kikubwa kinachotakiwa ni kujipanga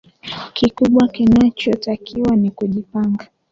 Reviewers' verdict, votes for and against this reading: accepted, 2, 1